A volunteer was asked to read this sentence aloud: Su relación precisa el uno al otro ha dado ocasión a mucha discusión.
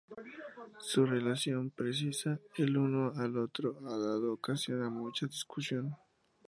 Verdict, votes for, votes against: accepted, 2, 0